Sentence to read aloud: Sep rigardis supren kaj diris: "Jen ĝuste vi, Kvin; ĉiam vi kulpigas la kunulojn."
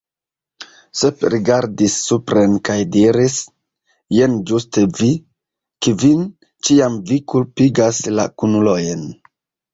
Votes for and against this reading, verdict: 2, 1, accepted